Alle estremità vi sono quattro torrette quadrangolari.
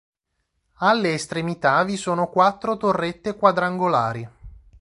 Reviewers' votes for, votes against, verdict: 2, 0, accepted